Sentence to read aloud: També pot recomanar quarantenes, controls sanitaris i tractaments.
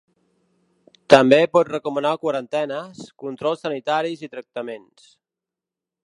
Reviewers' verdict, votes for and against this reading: accepted, 4, 0